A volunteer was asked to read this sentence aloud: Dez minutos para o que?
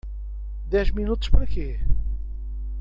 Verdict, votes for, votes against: rejected, 0, 2